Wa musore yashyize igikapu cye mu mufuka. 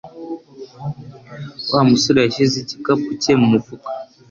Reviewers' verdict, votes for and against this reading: accepted, 2, 0